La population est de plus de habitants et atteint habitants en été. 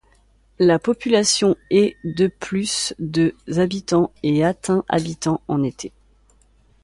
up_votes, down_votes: 2, 0